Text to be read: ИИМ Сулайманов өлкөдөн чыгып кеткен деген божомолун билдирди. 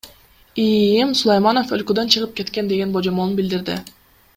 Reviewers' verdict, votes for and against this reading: accepted, 2, 0